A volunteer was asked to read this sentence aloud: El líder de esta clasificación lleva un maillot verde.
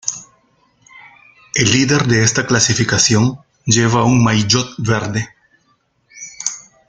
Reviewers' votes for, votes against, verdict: 1, 2, rejected